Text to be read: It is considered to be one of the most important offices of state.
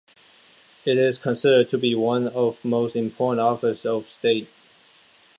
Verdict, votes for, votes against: rejected, 1, 2